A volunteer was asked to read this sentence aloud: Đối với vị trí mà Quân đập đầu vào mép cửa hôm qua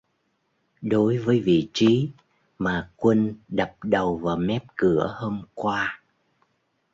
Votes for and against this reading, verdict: 2, 0, accepted